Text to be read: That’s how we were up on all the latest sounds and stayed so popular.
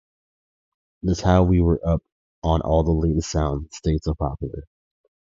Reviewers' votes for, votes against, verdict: 0, 2, rejected